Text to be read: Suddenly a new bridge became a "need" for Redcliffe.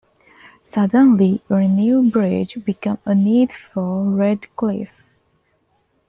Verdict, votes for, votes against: accepted, 2, 1